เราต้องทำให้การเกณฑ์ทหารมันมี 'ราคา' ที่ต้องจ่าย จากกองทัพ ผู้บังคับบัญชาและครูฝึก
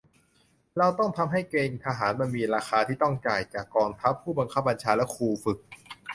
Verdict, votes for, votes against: rejected, 0, 2